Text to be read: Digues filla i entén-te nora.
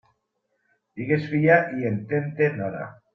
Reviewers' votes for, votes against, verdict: 2, 0, accepted